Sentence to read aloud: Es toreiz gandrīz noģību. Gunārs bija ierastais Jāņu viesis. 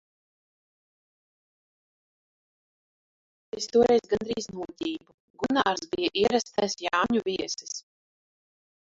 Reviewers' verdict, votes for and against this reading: rejected, 0, 2